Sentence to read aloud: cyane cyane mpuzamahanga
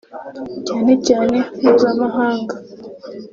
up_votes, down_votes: 2, 0